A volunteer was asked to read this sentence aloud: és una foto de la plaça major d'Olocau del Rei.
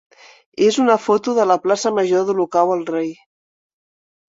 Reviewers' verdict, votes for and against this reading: rejected, 1, 2